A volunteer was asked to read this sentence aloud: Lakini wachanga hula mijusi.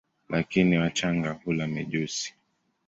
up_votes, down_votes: 3, 0